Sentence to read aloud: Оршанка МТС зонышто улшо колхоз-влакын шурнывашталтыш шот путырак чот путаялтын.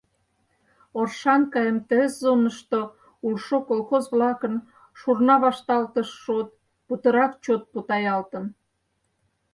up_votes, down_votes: 0, 4